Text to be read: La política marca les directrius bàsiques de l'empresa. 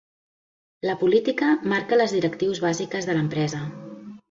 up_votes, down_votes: 2, 0